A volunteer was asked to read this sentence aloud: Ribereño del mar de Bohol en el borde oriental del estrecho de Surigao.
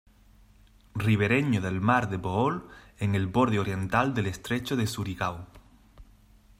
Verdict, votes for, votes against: accepted, 2, 0